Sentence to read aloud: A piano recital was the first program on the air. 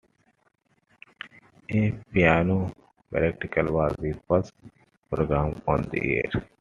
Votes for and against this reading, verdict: 2, 1, accepted